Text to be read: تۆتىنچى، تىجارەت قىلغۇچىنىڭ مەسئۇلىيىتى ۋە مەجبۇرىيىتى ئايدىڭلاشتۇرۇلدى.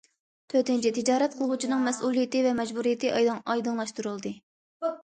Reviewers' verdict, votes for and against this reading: rejected, 0, 2